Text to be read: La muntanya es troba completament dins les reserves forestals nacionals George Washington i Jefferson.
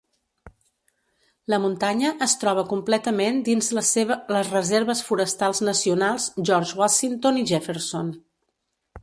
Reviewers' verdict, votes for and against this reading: rejected, 0, 2